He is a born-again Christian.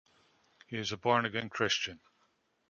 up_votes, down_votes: 2, 0